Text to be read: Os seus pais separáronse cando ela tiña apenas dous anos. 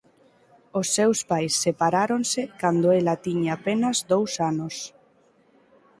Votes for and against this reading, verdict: 3, 0, accepted